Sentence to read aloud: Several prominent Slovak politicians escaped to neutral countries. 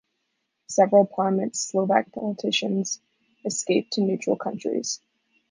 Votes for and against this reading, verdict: 2, 0, accepted